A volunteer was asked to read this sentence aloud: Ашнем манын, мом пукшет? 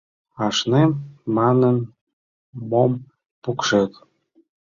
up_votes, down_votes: 2, 0